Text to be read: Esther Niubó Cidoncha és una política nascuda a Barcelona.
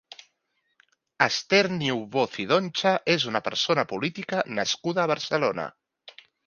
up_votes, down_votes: 1, 2